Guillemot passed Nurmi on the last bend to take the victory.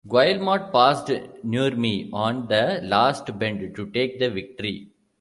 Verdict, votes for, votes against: rejected, 1, 2